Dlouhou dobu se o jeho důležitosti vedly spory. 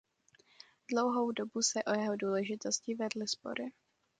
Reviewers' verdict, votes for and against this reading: accepted, 2, 0